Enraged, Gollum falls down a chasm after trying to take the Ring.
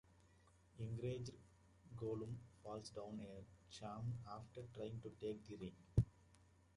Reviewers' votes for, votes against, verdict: 0, 2, rejected